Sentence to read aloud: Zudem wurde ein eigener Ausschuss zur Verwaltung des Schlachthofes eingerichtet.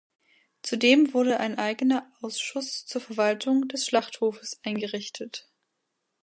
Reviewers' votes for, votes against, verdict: 2, 0, accepted